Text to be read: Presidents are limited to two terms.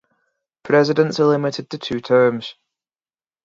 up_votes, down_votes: 2, 2